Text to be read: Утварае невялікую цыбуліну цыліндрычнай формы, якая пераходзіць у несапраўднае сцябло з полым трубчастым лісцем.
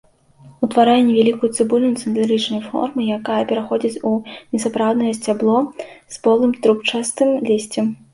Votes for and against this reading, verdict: 2, 0, accepted